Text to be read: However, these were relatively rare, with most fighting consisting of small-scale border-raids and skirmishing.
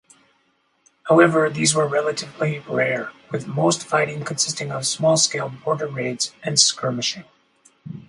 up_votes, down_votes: 4, 0